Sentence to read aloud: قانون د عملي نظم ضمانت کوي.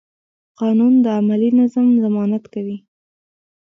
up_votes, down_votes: 2, 1